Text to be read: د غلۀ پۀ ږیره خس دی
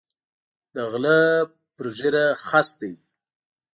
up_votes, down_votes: 2, 0